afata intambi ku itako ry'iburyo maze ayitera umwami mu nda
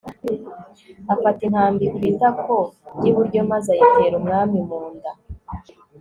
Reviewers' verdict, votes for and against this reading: rejected, 1, 2